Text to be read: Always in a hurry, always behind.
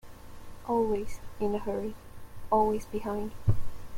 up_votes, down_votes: 2, 0